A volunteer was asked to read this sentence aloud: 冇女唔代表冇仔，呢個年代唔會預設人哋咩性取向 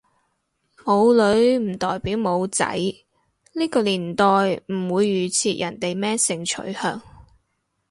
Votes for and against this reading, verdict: 4, 0, accepted